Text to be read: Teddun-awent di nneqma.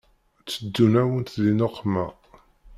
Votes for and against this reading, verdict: 2, 1, accepted